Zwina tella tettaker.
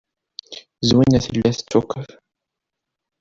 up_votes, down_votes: 1, 2